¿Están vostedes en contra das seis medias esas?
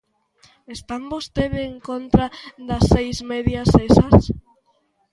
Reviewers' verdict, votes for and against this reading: rejected, 1, 2